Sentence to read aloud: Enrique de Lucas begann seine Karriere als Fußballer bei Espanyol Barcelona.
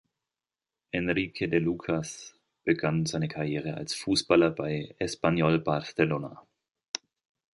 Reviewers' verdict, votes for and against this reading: accepted, 3, 0